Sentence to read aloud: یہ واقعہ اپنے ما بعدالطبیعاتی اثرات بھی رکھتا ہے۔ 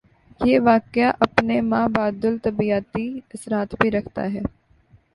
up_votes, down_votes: 2, 0